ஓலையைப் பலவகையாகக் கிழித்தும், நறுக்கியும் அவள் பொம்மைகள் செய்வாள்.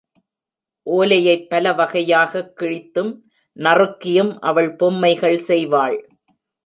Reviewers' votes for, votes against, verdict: 2, 0, accepted